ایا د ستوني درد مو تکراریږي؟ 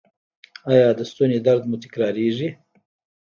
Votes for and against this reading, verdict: 0, 2, rejected